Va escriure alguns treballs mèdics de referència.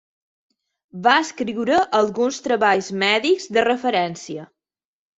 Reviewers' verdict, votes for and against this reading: accepted, 3, 0